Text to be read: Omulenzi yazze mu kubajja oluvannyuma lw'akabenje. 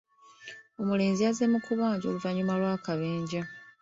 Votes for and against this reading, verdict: 2, 0, accepted